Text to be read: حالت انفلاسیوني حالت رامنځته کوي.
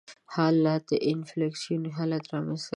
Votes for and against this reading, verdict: 1, 2, rejected